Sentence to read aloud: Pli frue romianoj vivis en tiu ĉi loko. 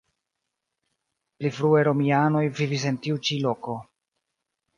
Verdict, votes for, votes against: accepted, 2, 1